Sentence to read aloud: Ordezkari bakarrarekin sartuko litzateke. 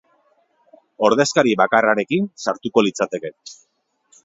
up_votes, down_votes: 2, 0